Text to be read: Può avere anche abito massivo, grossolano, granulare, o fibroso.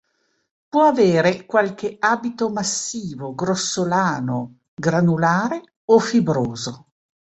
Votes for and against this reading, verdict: 1, 2, rejected